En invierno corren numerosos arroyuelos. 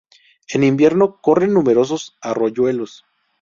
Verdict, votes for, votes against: accepted, 2, 0